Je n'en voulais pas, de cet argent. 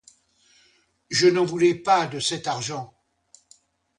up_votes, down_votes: 2, 0